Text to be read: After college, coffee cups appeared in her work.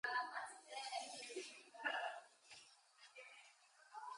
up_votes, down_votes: 0, 2